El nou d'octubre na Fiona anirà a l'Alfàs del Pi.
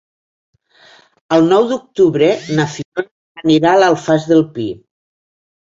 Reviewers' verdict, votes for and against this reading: rejected, 1, 2